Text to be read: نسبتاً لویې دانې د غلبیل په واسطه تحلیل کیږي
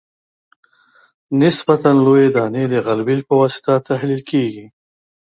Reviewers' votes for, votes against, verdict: 2, 0, accepted